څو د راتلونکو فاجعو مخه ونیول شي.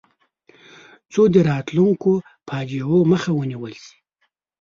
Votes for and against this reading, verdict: 2, 0, accepted